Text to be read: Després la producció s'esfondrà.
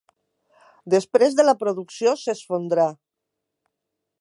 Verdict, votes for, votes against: accepted, 2, 1